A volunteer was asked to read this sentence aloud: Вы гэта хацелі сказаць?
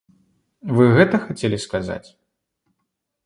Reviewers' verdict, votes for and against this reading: accepted, 2, 0